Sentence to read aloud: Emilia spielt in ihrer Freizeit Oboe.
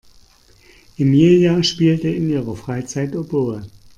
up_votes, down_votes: 1, 2